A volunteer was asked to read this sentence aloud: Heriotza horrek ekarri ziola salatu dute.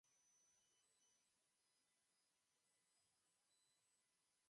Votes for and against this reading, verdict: 1, 2, rejected